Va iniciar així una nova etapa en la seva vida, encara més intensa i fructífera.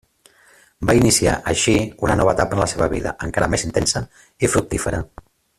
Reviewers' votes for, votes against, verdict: 1, 2, rejected